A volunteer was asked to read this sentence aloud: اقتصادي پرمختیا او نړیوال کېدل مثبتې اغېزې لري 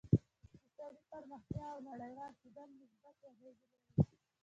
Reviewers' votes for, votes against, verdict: 1, 2, rejected